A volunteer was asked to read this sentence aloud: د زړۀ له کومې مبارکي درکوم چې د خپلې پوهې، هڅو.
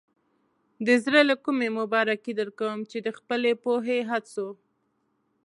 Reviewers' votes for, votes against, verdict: 2, 0, accepted